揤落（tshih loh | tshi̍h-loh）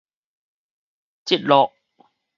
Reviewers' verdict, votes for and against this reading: rejected, 2, 2